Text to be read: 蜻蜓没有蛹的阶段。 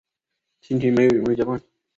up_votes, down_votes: 0, 2